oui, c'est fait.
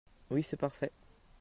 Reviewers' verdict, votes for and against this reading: rejected, 0, 2